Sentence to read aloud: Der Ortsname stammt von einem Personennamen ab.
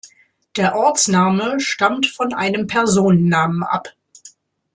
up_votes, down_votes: 2, 0